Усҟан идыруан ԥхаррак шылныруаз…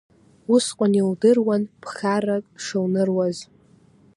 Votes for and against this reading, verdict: 2, 0, accepted